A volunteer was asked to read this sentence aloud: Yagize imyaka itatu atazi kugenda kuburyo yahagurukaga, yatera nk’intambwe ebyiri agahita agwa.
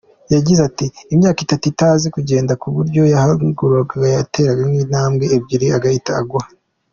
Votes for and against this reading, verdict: 0, 2, rejected